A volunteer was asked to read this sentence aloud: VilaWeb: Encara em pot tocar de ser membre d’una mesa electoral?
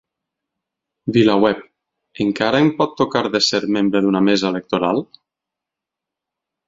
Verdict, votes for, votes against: accepted, 4, 0